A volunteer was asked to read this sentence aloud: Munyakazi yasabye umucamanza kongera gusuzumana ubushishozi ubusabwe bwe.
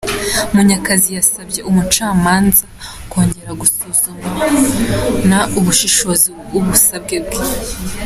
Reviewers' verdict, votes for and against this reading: accepted, 2, 0